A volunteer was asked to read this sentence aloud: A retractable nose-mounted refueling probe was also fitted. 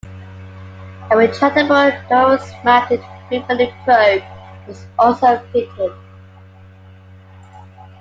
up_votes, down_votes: 0, 2